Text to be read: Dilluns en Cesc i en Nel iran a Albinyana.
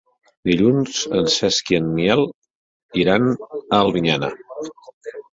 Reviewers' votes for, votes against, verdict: 1, 3, rejected